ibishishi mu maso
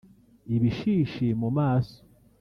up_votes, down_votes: 1, 2